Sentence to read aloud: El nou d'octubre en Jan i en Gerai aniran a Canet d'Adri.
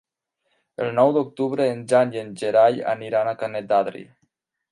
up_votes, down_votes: 4, 0